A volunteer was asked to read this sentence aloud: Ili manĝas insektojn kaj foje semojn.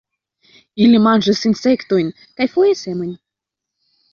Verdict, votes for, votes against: rejected, 1, 2